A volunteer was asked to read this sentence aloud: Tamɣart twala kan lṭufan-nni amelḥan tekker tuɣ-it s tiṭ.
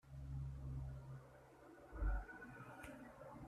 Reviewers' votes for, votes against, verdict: 1, 2, rejected